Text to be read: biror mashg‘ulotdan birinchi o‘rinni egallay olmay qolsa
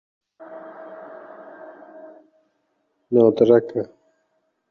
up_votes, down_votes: 0, 2